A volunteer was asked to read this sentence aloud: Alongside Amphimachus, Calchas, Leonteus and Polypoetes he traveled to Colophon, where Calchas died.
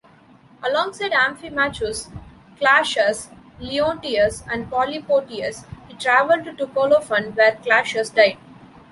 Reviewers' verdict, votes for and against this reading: rejected, 1, 2